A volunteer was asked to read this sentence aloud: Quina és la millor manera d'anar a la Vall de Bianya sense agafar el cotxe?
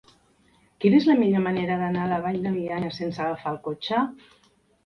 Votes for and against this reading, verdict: 1, 2, rejected